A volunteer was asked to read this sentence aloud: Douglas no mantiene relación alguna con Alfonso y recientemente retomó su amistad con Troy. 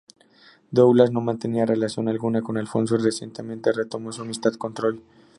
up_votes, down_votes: 2, 0